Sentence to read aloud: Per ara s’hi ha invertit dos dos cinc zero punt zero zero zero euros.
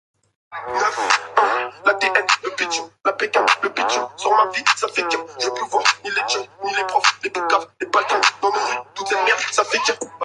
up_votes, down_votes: 0, 2